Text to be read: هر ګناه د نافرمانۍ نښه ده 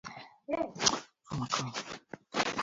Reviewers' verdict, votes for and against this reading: rejected, 0, 4